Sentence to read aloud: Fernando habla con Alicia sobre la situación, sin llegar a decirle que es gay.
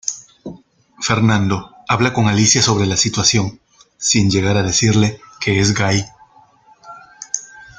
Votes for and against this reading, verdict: 2, 1, accepted